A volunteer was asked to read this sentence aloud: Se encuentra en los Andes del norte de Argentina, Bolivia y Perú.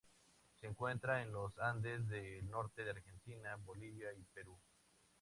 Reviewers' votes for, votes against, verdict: 4, 0, accepted